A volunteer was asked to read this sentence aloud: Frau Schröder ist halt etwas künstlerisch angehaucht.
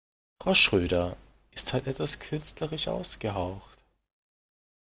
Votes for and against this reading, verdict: 0, 2, rejected